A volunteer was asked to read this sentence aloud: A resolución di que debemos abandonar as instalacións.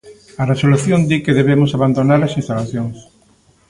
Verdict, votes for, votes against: accepted, 2, 0